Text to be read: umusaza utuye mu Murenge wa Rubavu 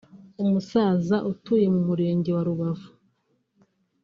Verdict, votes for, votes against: rejected, 0, 2